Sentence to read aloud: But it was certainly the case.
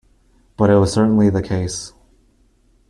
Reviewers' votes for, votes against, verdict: 2, 0, accepted